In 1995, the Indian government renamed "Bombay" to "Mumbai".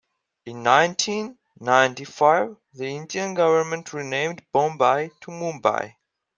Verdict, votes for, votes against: rejected, 0, 2